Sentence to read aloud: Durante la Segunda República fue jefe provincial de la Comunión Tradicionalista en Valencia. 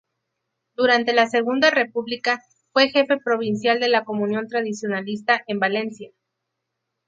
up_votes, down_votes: 2, 0